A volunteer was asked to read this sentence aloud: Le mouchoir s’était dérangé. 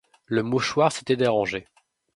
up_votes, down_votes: 2, 0